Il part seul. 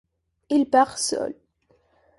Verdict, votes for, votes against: accepted, 2, 0